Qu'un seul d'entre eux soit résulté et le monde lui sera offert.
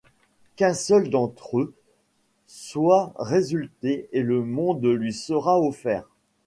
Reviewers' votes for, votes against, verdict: 2, 0, accepted